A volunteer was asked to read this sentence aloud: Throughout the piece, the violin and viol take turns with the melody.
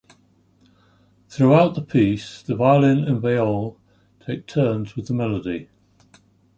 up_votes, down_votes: 2, 0